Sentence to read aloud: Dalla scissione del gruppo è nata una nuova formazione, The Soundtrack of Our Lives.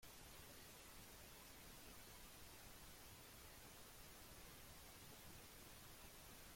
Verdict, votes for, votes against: rejected, 0, 2